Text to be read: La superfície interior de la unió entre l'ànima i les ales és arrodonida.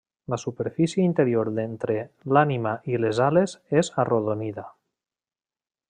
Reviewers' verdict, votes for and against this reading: rejected, 1, 2